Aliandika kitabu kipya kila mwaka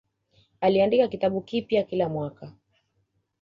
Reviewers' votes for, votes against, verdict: 2, 0, accepted